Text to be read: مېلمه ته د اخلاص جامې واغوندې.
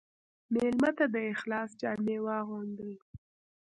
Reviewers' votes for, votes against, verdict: 1, 2, rejected